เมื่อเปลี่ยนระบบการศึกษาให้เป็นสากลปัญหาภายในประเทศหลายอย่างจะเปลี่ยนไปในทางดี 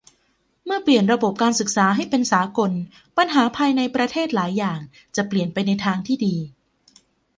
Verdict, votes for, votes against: rejected, 1, 2